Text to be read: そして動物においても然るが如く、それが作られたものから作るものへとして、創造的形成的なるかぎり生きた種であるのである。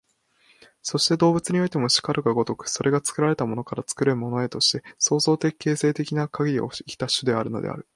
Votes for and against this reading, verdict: 1, 2, rejected